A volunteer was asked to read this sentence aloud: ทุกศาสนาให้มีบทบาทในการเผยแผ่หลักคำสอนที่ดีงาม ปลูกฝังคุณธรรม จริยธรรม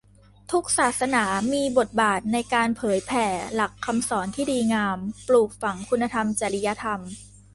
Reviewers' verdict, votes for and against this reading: rejected, 1, 2